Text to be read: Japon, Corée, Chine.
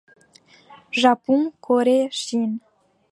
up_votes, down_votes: 2, 0